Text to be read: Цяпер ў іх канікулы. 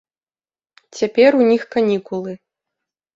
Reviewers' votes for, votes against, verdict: 0, 2, rejected